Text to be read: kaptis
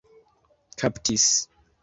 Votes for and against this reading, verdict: 2, 0, accepted